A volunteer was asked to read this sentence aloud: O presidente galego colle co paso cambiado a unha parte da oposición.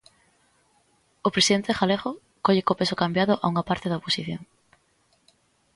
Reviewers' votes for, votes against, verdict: 1, 2, rejected